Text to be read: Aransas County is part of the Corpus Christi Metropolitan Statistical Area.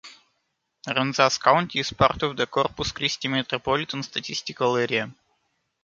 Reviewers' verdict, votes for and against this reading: rejected, 1, 2